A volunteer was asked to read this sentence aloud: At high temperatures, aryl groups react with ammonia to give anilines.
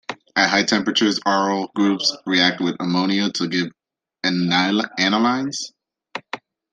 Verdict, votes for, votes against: rejected, 0, 2